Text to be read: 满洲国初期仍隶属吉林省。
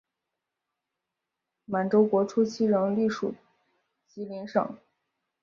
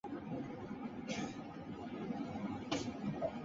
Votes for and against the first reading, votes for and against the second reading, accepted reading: 5, 0, 0, 3, first